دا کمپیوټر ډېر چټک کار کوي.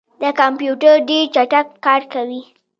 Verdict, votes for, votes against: accepted, 2, 1